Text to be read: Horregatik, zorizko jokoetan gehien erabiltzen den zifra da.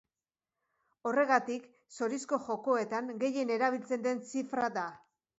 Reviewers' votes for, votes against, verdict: 5, 0, accepted